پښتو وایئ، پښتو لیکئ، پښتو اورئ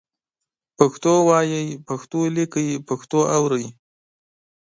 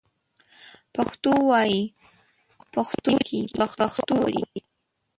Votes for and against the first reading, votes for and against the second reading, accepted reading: 2, 0, 0, 2, first